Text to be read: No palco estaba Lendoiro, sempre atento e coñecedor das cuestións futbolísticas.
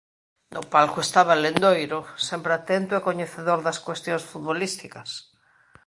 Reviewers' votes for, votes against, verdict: 2, 0, accepted